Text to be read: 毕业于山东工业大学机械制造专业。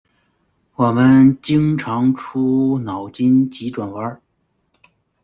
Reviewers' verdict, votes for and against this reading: rejected, 0, 2